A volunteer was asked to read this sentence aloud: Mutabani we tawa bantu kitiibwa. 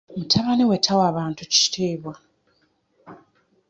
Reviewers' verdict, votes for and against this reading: accepted, 2, 0